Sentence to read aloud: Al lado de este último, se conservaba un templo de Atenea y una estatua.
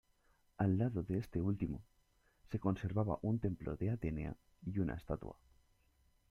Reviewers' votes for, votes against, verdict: 1, 2, rejected